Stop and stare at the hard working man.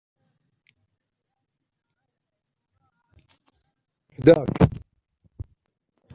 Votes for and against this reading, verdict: 0, 2, rejected